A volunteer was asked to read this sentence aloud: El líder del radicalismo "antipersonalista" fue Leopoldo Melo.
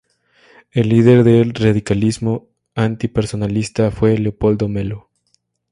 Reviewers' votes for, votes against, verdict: 2, 0, accepted